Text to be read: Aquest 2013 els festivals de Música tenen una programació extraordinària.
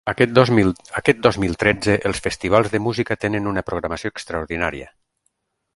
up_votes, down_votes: 0, 2